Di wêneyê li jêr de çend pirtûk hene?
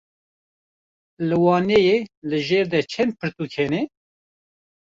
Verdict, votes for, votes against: rejected, 1, 2